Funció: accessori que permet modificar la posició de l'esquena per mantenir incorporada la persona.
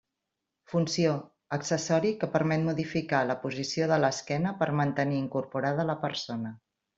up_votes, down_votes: 3, 0